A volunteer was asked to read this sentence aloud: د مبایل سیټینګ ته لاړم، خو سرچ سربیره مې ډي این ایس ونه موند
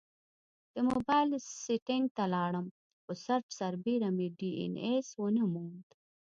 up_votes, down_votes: 2, 0